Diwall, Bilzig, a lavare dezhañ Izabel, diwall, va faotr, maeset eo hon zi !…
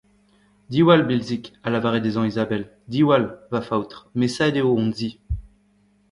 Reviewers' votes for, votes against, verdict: 1, 2, rejected